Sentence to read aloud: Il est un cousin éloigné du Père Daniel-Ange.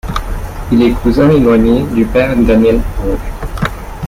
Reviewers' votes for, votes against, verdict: 1, 2, rejected